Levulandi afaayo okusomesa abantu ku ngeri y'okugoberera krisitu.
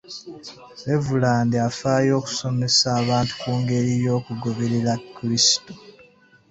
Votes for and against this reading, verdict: 2, 0, accepted